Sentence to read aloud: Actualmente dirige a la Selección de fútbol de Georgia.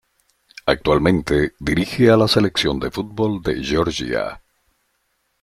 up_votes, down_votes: 2, 0